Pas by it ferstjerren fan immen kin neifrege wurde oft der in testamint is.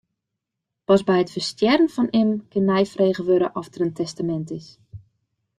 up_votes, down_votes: 2, 0